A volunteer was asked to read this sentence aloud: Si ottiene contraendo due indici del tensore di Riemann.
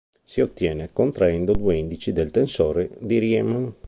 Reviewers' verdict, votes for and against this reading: rejected, 1, 2